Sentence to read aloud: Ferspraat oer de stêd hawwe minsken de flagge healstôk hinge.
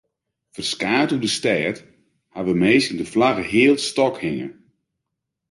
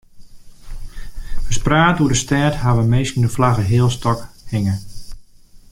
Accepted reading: second